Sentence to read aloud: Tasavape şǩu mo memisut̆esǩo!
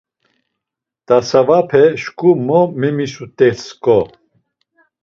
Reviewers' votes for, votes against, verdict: 2, 0, accepted